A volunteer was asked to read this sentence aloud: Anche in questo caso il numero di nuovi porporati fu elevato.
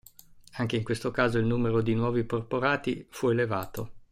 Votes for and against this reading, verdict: 2, 0, accepted